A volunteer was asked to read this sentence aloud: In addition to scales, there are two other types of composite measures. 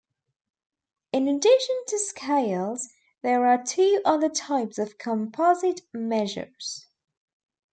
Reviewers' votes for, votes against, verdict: 2, 0, accepted